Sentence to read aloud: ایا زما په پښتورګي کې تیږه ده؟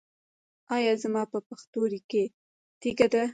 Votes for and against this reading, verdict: 0, 2, rejected